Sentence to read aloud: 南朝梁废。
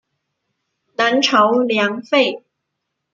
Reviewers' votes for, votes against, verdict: 2, 1, accepted